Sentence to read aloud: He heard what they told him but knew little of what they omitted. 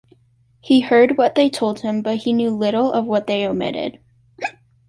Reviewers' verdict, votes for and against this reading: rejected, 0, 2